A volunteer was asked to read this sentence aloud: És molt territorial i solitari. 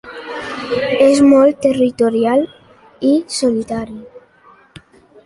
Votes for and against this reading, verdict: 2, 0, accepted